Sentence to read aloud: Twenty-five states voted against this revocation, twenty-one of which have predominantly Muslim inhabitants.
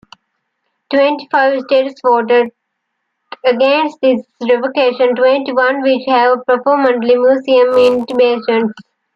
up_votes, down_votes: 1, 2